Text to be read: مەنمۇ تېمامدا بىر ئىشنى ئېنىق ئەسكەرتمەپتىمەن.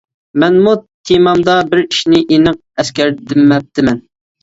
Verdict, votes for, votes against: rejected, 0, 2